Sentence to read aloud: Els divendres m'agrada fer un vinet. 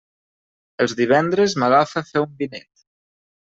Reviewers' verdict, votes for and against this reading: rejected, 0, 2